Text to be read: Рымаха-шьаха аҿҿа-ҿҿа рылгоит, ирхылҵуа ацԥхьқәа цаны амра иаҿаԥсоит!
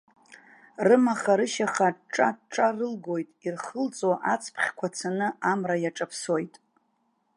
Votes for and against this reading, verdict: 0, 2, rejected